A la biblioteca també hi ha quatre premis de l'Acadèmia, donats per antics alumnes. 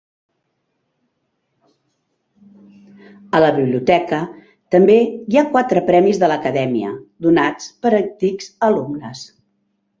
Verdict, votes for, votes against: accepted, 2, 0